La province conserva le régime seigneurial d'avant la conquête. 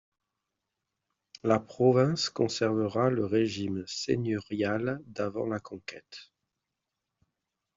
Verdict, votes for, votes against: rejected, 0, 2